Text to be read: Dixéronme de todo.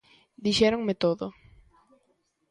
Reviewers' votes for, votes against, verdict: 0, 2, rejected